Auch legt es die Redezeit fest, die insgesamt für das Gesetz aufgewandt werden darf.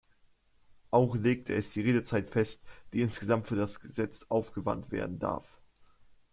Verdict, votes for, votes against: accepted, 2, 0